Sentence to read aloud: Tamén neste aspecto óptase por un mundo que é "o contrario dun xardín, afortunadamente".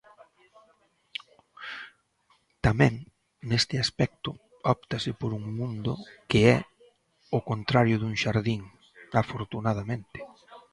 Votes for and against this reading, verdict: 2, 1, accepted